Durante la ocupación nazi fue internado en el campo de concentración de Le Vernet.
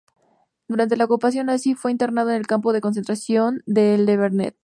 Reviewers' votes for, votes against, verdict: 4, 0, accepted